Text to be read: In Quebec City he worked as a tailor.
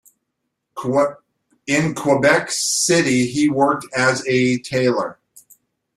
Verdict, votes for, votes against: rejected, 0, 2